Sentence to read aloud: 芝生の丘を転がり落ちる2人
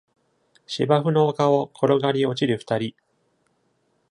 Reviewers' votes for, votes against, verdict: 0, 2, rejected